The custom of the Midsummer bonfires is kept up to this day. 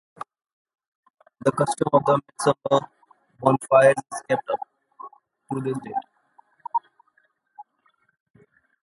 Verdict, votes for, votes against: rejected, 0, 2